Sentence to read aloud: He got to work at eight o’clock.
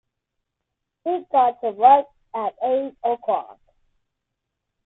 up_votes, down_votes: 1, 2